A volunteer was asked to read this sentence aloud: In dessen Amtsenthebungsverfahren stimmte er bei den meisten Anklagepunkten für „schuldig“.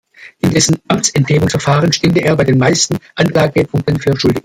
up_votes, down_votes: 1, 2